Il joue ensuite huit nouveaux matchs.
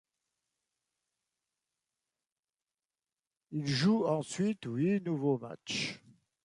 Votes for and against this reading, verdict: 2, 0, accepted